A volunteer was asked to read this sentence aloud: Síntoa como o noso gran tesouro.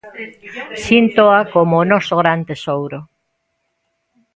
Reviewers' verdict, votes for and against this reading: rejected, 1, 2